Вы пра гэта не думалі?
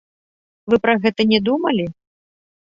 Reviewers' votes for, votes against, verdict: 2, 0, accepted